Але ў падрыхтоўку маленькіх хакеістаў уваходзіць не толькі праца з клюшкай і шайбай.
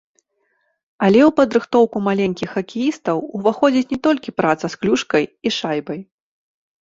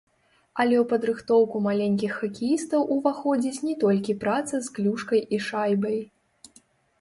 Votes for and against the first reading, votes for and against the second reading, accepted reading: 2, 0, 1, 2, first